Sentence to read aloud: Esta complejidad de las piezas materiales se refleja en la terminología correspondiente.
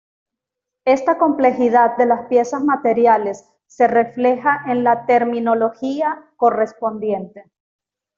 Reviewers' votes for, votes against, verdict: 2, 0, accepted